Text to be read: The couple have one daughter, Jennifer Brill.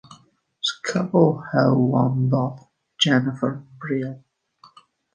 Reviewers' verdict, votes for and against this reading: rejected, 2, 3